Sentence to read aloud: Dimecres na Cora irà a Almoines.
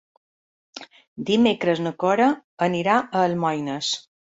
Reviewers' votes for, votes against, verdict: 0, 2, rejected